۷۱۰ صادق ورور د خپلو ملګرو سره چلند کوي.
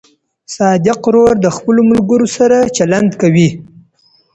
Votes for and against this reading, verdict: 0, 2, rejected